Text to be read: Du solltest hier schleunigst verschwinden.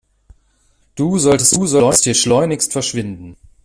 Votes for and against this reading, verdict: 0, 2, rejected